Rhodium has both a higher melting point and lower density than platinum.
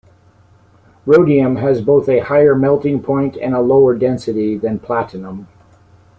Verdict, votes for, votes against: accepted, 2, 0